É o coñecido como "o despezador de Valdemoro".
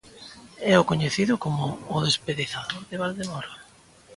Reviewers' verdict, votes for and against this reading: rejected, 0, 2